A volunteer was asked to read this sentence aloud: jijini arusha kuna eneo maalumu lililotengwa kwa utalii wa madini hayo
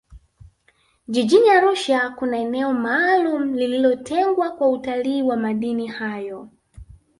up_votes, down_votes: 2, 1